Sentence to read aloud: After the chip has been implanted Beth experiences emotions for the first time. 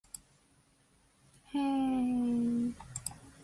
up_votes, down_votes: 0, 2